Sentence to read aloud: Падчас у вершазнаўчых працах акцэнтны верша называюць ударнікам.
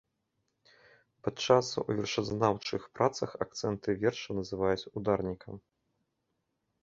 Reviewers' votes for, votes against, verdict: 2, 0, accepted